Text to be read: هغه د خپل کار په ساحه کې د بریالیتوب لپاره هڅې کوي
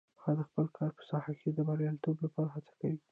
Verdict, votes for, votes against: rejected, 0, 2